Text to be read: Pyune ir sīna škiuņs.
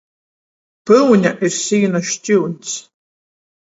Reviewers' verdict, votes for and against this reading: accepted, 14, 7